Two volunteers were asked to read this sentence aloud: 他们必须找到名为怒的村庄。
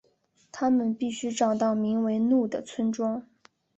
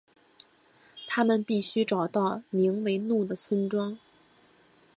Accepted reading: second